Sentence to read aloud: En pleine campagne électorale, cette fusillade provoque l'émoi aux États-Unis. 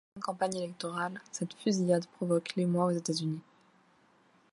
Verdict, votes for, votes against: rejected, 1, 2